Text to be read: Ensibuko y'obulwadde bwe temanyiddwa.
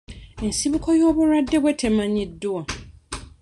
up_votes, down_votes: 2, 0